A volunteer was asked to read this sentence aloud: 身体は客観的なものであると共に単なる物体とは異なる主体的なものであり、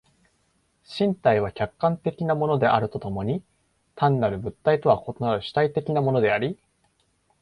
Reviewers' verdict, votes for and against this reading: accepted, 2, 0